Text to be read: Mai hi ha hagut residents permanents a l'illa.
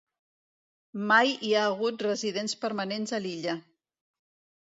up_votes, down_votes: 2, 0